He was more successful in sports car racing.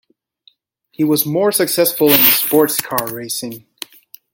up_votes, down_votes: 1, 2